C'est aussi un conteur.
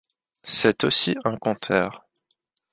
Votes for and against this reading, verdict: 2, 0, accepted